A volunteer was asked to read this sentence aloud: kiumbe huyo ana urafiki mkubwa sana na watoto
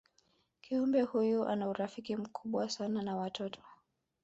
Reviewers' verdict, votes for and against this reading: accepted, 3, 2